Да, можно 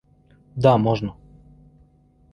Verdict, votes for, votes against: accepted, 2, 0